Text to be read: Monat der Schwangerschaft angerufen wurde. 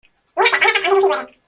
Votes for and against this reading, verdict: 0, 2, rejected